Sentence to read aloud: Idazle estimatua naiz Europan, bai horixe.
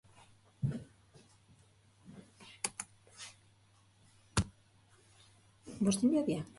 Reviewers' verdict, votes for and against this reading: rejected, 1, 2